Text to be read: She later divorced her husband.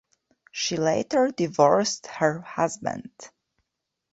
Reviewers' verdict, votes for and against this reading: accepted, 2, 0